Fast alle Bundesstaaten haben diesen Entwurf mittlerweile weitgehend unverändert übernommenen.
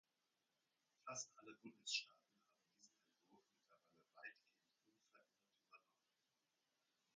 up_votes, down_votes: 0, 2